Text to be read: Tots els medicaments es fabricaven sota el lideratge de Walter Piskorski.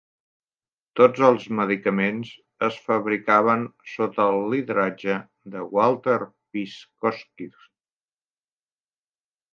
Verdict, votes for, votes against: rejected, 0, 2